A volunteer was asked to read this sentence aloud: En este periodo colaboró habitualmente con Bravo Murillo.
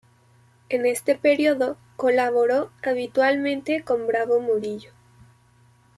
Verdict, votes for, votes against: accepted, 2, 0